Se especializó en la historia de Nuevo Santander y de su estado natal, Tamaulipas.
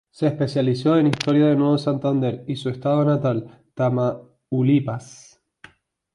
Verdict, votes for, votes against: rejected, 0, 2